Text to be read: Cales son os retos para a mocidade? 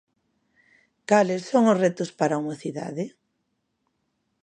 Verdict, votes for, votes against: accepted, 2, 0